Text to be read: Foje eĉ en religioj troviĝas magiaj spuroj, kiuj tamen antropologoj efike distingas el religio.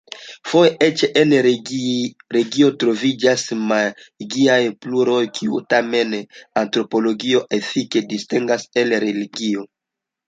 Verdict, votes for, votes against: rejected, 1, 2